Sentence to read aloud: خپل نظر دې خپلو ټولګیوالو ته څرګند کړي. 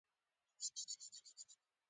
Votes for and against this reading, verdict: 0, 2, rejected